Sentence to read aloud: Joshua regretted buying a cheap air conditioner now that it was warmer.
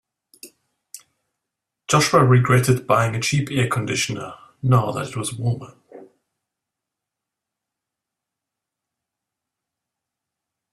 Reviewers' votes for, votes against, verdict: 3, 0, accepted